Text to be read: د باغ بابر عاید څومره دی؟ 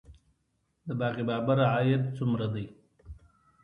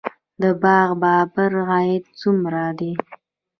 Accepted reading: first